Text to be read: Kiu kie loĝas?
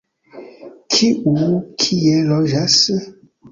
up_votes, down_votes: 0, 2